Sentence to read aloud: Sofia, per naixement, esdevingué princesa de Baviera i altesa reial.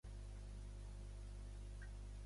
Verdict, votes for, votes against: rejected, 0, 2